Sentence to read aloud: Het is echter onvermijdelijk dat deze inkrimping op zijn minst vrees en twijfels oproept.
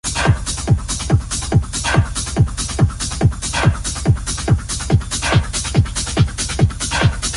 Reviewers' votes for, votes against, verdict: 0, 2, rejected